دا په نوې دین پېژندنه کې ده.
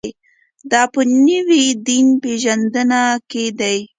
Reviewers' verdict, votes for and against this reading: accepted, 2, 0